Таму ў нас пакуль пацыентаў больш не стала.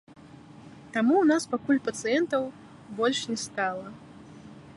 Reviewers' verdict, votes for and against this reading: rejected, 1, 2